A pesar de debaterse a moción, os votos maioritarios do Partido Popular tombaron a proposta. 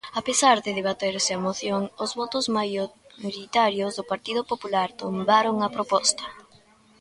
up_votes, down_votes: 1, 3